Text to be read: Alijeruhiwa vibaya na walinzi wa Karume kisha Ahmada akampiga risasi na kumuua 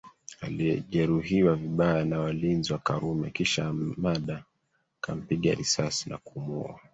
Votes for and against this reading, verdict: 0, 2, rejected